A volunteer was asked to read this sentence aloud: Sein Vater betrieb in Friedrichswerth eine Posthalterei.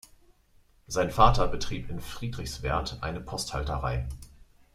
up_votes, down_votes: 3, 0